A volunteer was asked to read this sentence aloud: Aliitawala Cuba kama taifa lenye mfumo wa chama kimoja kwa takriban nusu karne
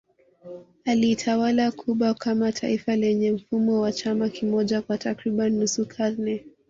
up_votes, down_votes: 1, 2